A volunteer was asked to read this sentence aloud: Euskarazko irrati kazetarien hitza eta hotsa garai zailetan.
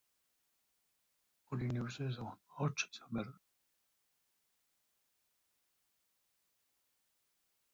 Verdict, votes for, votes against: rejected, 0, 2